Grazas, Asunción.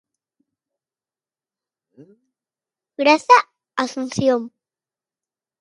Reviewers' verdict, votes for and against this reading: rejected, 0, 2